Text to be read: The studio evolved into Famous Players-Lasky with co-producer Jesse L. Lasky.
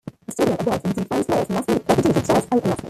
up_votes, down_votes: 1, 2